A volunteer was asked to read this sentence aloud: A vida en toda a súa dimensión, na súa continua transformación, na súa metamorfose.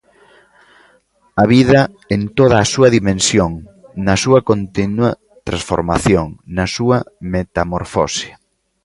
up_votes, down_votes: 0, 2